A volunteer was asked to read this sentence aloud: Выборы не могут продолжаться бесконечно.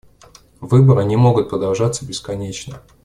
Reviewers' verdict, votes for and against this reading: accepted, 2, 0